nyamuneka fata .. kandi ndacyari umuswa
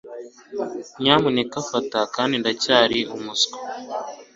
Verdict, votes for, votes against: accepted, 2, 0